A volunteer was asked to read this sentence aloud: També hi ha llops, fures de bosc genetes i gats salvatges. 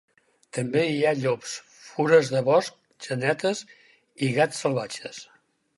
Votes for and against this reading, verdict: 4, 0, accepted